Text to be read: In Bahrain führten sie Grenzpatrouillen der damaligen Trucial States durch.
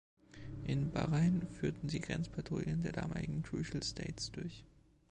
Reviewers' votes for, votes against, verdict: 2, 1, accepted